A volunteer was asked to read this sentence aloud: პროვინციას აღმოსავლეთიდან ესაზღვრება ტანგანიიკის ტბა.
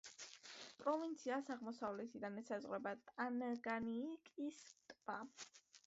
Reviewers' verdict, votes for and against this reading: rejected, 1, 2